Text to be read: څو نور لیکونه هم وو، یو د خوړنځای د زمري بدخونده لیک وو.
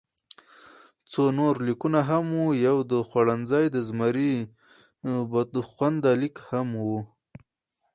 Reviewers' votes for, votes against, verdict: 4, 0, accepted